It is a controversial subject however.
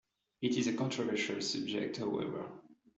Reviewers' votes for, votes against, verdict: 2, 1, accepted